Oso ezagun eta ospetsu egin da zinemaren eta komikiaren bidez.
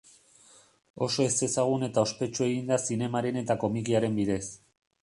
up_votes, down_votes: 0, 2